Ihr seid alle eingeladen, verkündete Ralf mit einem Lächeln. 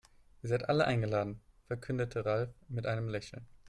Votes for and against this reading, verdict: 4, 0, accepted